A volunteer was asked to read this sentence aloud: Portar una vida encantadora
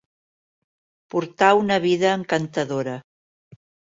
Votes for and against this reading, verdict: 3, 0, accepted